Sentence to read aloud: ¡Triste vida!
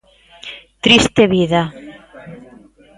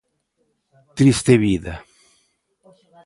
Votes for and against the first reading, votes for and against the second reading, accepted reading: 2, 0, 0, 2, first